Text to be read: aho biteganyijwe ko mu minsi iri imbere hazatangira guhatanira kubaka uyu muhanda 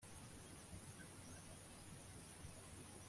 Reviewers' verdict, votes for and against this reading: rejected, 1, 2